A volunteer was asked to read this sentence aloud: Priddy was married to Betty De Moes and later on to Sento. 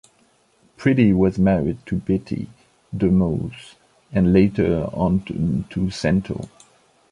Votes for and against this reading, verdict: 1, 2, rejected